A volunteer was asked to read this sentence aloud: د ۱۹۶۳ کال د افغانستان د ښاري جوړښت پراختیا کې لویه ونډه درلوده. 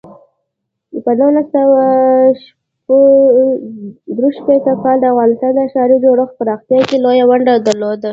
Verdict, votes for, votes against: rejected, 0, 2